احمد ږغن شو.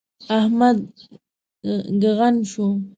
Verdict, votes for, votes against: rejected, 1, 2